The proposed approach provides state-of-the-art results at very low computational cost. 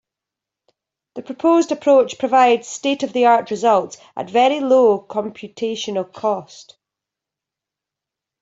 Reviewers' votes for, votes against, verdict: 2, 0, accepted